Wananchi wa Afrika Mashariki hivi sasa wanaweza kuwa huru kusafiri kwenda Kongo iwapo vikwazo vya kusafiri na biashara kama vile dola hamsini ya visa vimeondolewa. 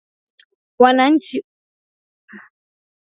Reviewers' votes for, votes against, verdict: 2, 5, rejected